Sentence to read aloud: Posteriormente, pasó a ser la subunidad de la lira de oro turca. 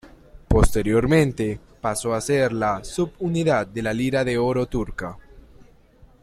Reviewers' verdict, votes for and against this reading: accepted, 2, 0